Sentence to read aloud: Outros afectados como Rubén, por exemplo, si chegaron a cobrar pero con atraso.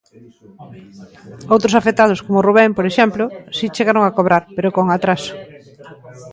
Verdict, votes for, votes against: rejected, 1, 2